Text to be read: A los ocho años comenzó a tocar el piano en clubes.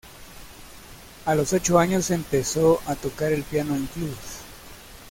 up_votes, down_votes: 1, 2